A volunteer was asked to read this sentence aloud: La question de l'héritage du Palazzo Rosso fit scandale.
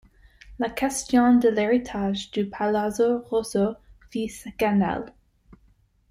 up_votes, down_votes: 1, 2